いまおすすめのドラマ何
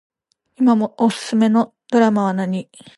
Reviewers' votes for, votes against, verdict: 1, 2, rejected